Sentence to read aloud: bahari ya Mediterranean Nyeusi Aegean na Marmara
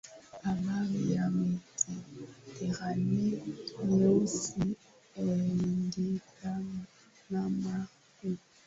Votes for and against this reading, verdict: 0, 3, rejected